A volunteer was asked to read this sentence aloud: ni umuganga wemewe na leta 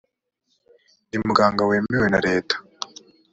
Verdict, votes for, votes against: accepted, 2, 0